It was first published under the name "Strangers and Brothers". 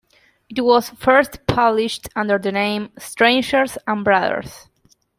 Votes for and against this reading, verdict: 2, 0, accepted